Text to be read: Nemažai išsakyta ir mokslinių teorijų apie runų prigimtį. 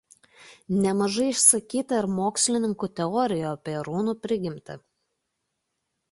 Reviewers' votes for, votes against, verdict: 0, 2, rejected